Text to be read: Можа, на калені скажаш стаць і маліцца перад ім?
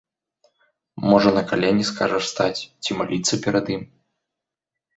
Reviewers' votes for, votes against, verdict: 1, 2, rejected